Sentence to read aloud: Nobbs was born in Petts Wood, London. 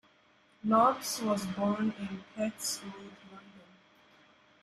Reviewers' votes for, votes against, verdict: 2, 3, rejected